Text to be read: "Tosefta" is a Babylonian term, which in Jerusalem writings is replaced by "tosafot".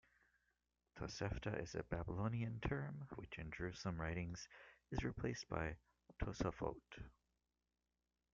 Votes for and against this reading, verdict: 0, 2, rejected